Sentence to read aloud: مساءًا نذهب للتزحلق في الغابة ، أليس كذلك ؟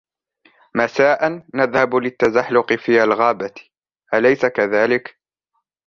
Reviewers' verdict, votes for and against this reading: rejected, 1, 2